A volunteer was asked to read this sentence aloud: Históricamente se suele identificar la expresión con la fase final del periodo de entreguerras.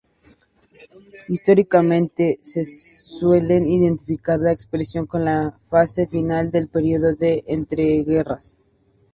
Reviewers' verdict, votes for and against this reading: rejected, 0, 2